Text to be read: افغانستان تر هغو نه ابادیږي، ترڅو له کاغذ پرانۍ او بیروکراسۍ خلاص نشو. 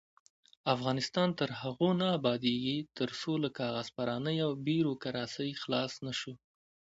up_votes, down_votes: 2, 1